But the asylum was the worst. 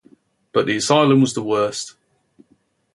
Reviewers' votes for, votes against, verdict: 0, 2, rejected